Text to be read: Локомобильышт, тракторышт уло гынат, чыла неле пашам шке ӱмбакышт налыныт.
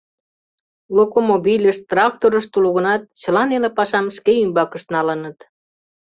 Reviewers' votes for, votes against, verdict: 2, 0, accepted